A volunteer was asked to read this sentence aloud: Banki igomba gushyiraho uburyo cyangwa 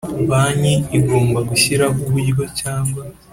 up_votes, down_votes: 2, 0